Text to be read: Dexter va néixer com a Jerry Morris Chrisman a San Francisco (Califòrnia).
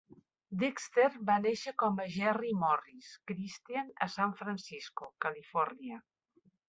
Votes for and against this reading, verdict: 0, 3, rejected